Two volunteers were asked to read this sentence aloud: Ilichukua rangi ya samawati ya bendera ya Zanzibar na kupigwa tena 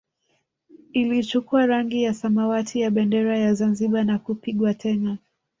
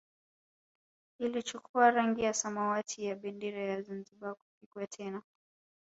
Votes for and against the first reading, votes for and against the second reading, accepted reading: 2, 3, 2, 0, second